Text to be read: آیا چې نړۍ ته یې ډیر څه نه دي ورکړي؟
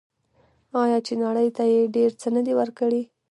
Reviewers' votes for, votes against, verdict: 0, 2, rejected